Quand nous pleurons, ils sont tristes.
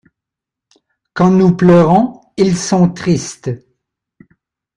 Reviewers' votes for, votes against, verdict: 3, 0, accepted